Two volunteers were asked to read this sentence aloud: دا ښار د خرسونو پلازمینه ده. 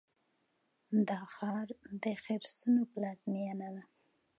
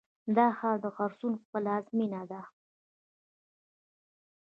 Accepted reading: first